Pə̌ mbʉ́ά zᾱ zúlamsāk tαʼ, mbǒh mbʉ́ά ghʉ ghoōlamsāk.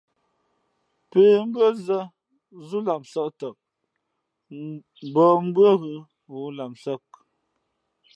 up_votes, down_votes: 2, 0